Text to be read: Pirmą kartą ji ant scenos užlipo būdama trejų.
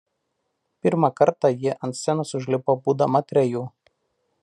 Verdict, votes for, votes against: accepted, 2, 0